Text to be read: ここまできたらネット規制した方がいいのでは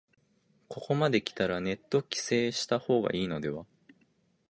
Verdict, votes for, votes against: accepted, 2, 0